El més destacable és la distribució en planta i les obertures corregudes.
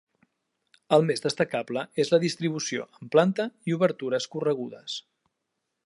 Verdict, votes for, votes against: rejected, 0, 2